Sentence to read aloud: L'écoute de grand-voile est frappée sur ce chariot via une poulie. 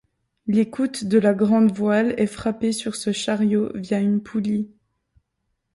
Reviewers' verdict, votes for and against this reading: rejected, 1, 2